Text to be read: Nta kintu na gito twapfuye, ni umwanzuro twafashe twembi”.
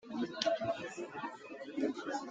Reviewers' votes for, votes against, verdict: 0, 2, rejected